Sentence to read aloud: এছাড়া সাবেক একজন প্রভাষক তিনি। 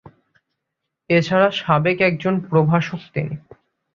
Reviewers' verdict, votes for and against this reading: accepted, 2, 0